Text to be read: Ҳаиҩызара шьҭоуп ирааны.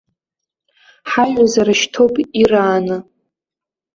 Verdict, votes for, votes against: rejected, 0, 2